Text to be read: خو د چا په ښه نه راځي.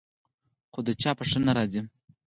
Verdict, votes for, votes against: accepted, 4, 0